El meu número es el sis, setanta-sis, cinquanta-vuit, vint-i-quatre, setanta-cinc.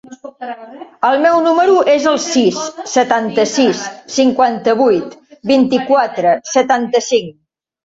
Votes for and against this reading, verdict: 1, 2, rejected